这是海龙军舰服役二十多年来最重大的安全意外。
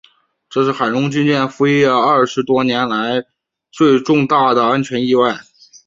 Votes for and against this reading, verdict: 0, 2, rejected